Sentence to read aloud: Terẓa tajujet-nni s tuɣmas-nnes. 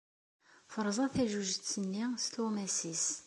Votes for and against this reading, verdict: 2, 0, accepted